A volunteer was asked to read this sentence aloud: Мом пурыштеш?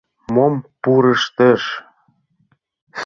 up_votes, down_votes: 2, 1